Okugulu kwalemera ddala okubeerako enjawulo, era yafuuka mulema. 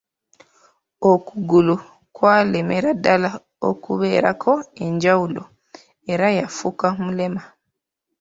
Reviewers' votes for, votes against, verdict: 2, 0, accepted